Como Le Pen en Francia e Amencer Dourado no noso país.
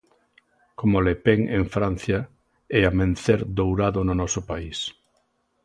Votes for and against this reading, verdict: 2, 0, accepted